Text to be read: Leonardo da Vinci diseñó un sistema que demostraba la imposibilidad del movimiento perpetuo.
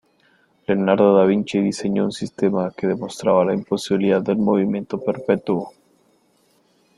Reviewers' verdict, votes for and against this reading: accepted, 2, 1